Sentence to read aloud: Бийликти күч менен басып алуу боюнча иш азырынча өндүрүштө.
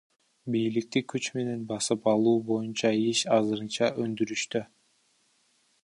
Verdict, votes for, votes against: rejected, 0, 2